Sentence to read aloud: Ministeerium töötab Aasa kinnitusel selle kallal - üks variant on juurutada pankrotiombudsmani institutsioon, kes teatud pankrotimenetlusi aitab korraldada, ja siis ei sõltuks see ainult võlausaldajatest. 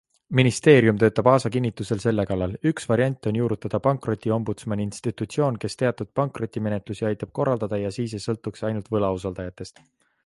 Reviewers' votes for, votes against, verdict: 2, 0, accepted